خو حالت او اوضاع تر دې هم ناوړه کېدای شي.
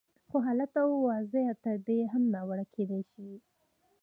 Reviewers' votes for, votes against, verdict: 0, 2, rejected